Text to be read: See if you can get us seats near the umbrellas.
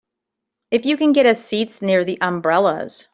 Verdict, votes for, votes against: rejected, 0, 2